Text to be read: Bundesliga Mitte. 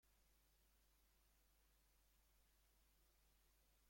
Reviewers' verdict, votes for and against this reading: rejected, 0, 2